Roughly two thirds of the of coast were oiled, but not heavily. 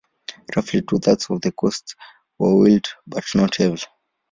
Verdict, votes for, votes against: rejected, 1, 2